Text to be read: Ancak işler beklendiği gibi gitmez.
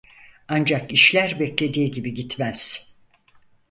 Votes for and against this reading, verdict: 0, 4, rejected